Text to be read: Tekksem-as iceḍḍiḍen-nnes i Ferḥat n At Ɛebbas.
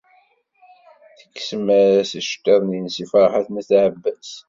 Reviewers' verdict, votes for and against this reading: rejected, 2, 3